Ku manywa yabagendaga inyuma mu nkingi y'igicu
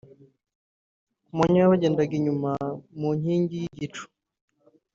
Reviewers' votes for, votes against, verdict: 1, 2, rejected